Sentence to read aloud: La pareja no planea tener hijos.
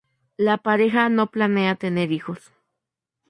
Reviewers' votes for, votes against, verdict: 2, 0, accepted